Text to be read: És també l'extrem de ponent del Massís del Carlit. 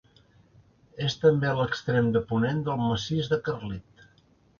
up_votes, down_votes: 1, 2